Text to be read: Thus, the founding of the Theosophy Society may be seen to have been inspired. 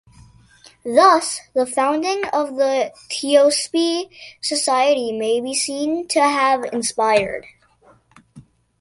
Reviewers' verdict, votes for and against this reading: rejected, 0, 2